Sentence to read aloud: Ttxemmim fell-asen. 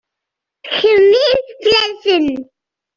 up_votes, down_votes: 1, 2